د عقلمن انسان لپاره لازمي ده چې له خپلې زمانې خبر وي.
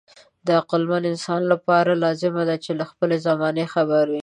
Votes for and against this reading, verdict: 1, 2, rejected